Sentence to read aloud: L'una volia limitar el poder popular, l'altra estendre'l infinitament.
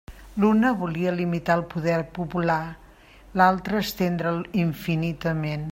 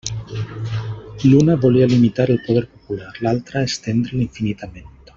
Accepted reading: first